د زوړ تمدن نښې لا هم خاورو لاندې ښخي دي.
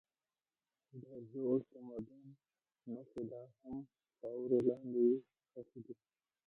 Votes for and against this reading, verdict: 0, 2, rejected